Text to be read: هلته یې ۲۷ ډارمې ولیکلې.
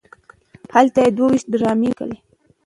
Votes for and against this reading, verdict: 0, 2, rejected